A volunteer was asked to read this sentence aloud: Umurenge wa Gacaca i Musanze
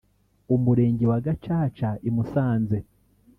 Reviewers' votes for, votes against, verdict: 2, 3, rejected